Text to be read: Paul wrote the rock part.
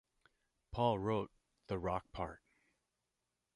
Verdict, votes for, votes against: accepted, 2, 0